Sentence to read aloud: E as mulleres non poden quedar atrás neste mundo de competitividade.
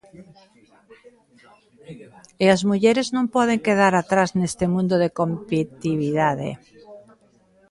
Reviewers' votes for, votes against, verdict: 0, 2, rejected